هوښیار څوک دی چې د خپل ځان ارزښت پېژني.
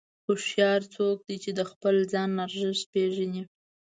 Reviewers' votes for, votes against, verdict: 2, 0, accepted